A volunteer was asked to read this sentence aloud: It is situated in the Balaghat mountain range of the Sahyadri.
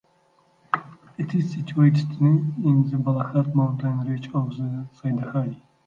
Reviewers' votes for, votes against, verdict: 1, 2, rejected